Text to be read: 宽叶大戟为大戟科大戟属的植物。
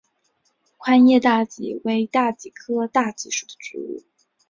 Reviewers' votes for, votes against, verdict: 3, 0, accepted